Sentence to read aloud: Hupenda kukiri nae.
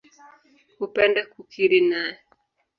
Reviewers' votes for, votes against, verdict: 1, 2, rejected